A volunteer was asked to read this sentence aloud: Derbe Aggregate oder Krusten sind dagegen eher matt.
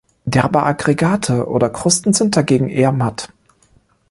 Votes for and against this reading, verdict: 2, 0, accepted